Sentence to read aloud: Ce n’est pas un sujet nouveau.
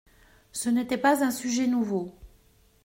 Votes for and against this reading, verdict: 1, 2, rejected